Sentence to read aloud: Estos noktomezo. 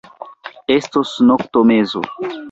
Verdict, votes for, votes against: rejected, 1, 2